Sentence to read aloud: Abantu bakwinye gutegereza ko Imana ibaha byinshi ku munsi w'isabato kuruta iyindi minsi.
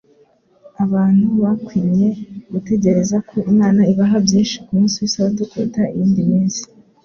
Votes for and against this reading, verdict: 2, 0, accepted